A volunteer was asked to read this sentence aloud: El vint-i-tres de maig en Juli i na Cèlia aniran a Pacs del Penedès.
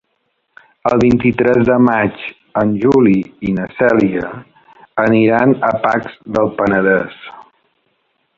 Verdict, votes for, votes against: accepted, 4, 0